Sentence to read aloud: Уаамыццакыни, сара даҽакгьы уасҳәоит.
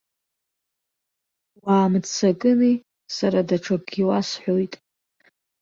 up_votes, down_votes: 2, 1